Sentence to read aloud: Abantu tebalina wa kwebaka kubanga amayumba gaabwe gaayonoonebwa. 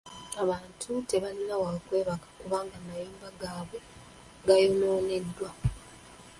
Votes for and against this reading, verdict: 0, 2, rejected